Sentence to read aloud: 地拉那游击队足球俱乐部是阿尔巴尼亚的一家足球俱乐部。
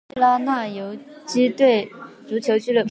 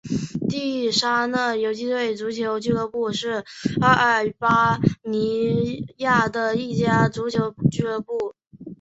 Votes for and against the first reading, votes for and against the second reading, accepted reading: 0, 2, 2, 1, second